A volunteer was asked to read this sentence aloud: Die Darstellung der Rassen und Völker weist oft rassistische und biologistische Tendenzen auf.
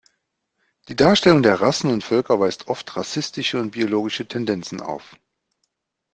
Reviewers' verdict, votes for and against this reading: rejected, 0, 2